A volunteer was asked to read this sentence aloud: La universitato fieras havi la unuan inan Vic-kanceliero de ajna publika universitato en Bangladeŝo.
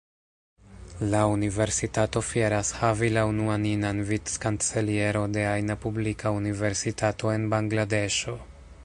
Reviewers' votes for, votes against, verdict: 0, 2, rejected